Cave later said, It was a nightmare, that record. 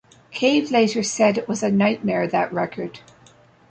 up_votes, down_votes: 0, 2